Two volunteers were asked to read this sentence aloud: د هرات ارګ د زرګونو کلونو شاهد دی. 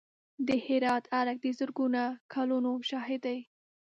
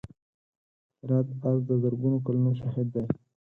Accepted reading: second